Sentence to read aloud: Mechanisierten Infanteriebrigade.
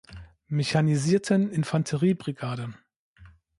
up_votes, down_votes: 2, 0